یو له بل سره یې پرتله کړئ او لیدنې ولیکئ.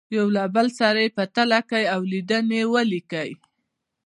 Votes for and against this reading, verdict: 0, 2, rejected